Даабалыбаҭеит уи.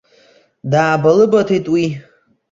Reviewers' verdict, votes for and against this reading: accepted, 2, 0